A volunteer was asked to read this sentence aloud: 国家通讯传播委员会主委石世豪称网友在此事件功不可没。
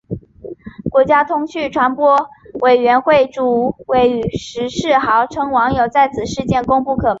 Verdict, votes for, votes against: rejected, 0, 2